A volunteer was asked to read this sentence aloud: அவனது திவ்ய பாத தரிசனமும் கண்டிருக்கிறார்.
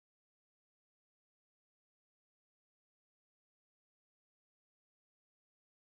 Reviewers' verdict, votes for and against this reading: rejected, 0, 2